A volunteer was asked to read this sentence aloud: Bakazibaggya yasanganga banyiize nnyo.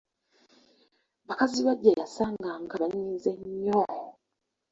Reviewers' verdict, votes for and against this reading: accepted, 2, 1